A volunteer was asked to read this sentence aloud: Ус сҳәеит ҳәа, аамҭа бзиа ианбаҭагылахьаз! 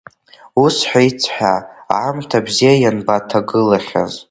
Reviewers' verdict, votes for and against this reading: rejected, 1, 2